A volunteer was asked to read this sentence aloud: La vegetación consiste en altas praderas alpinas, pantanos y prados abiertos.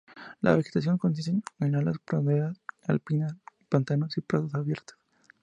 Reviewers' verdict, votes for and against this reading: rejected, 2, 2